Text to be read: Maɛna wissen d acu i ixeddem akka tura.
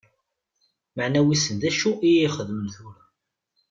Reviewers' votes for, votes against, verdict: 0, 2, rejected